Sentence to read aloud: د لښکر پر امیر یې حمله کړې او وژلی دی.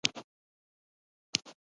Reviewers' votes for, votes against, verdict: 0, 2, rejected